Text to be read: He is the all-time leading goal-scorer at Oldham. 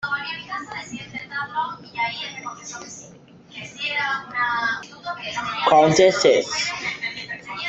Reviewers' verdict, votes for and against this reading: rejected, 0, 2